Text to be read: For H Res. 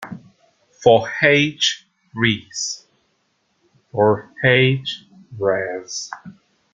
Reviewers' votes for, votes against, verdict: 2, 0, accepted